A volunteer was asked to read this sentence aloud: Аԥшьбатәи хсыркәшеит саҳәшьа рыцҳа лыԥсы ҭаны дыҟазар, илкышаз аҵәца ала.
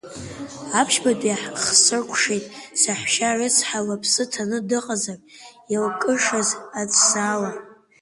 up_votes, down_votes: 0, 2